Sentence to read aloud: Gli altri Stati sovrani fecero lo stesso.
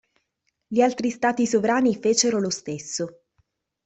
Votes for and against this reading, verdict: 2, 0, accepted